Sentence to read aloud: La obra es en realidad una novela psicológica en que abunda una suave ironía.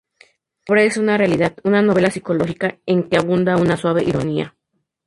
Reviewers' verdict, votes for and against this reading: rejected, 0, 2